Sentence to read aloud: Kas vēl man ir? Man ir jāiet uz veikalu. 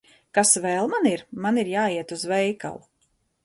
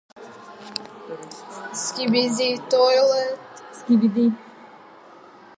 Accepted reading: first